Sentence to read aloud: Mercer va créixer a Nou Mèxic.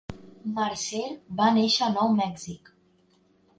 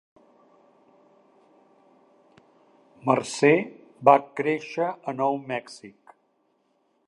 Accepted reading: second